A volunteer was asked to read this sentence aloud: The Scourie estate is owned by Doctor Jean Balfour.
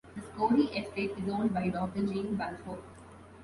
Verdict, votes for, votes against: rejected, 0, 2